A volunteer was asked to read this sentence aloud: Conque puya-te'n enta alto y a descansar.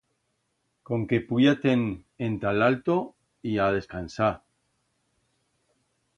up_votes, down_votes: 1, 2